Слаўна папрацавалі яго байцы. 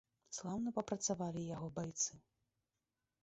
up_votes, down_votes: 0, 2